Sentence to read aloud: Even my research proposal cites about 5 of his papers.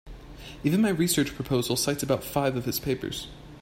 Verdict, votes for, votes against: rejected, 0, 2